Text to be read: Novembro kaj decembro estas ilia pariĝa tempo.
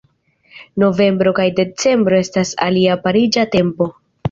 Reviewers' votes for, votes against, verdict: 1, 2, rejected